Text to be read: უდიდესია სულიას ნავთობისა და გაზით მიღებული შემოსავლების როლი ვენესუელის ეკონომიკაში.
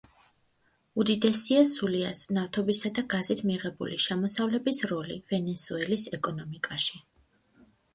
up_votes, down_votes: 2, 0